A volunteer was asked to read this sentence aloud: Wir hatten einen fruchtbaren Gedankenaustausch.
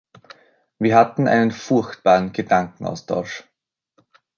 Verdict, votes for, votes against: rejected, 0, 2